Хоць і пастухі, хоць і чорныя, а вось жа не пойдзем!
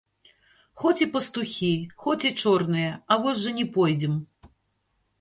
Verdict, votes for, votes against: rejected, 1, 2